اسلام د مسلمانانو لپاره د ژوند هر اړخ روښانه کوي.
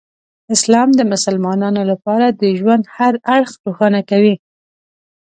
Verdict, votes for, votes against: accepted, 2, 0